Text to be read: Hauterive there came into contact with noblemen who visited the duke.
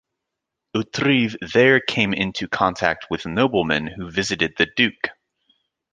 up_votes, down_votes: 3, 0